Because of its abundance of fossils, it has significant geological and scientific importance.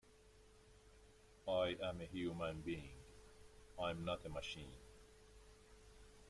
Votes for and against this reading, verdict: 0, 2, rejected